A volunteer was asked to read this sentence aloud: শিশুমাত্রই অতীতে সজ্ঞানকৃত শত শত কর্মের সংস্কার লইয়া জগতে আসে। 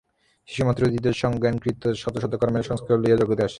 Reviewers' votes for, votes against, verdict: 0, 6, rejected